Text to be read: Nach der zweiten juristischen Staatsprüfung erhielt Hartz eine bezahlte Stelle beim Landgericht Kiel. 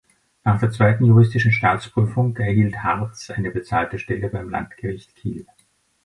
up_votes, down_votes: 3, 0